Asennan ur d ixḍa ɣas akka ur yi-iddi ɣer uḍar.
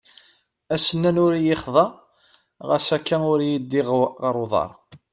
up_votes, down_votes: 1, 2